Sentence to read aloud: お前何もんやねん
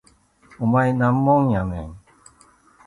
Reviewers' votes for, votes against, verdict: 0, 2, rejected